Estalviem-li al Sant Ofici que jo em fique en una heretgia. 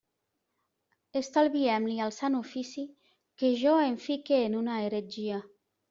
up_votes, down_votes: 2, 0